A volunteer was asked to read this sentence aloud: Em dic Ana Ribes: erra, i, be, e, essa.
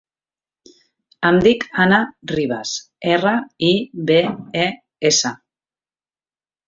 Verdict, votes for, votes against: accepted, 3, 0